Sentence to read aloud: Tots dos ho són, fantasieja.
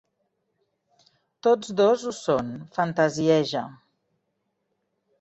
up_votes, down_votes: 4, 0